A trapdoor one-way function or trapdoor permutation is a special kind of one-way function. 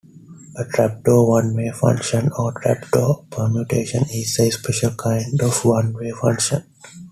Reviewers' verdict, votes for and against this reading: accepted, 2, 0